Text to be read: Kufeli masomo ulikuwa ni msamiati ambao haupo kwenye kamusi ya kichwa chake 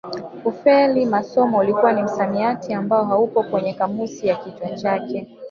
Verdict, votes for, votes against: accepted, 2, 1